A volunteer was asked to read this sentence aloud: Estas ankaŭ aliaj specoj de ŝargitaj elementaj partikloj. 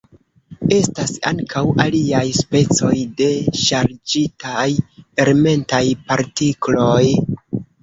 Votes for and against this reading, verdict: 0, 2, rejected